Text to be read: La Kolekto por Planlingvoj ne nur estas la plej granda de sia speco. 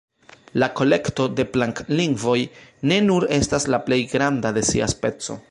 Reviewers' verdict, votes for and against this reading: rejected, 0, 2